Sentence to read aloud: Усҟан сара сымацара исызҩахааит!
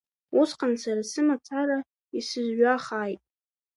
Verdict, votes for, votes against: accepted, 2, 1